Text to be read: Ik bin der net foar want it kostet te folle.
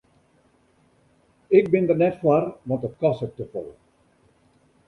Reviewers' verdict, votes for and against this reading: accepted, 2, 0